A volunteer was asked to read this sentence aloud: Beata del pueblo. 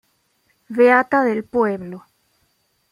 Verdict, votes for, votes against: accepted, 2, 0